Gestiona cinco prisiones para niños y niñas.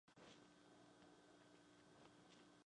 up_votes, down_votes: 0, 2